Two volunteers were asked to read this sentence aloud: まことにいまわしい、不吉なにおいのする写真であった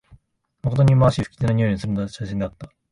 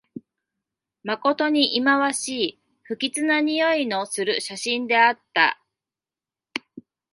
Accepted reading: second